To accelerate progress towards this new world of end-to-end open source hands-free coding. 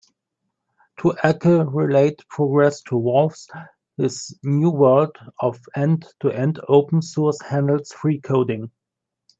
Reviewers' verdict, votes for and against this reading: rejected, 0, 2